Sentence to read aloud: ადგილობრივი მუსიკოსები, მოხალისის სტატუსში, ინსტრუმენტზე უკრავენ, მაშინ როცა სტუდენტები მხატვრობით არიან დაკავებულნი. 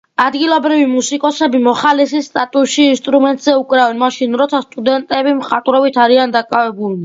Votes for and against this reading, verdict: 2, 0, accepted